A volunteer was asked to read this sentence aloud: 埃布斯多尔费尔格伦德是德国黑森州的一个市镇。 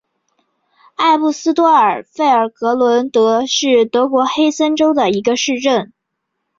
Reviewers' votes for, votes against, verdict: 2, 1, accepted